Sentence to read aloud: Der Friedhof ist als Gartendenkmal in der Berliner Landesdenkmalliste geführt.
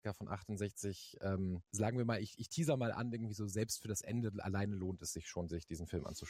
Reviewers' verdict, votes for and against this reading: rejected, 0, 2